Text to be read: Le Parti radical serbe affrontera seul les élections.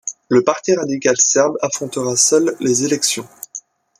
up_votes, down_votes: 2, 0